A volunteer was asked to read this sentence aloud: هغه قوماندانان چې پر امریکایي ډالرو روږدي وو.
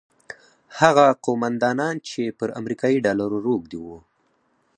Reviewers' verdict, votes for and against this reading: rejected, 0, 4